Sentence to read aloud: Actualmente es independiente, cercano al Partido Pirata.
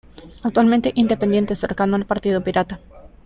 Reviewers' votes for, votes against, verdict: 1, 2, rejected